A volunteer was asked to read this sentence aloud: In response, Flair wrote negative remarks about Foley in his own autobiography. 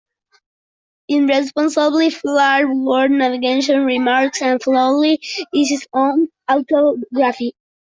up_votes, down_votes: 0, 2